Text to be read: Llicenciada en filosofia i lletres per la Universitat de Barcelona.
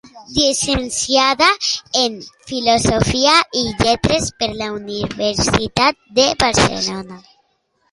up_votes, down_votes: 2, 0